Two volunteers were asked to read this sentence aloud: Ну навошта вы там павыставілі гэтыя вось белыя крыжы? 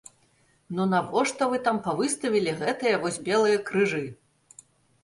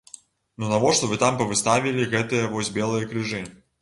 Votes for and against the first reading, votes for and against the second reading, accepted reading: 3, 0, 0, 2, first